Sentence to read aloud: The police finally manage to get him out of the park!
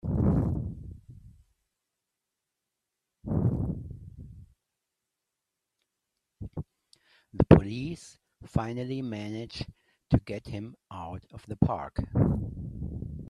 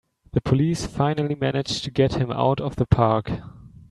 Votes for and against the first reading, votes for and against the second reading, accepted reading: 1, 2, 2, 0, second